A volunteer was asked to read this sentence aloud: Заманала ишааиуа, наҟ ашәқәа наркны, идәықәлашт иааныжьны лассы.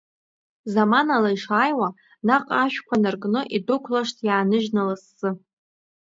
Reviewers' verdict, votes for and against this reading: accepted, 2, 0